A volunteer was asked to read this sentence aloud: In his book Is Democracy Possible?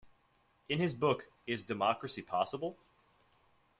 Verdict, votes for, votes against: rejected, 1, 2